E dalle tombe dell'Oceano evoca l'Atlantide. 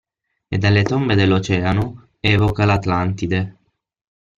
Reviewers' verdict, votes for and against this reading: accepted, 6, 0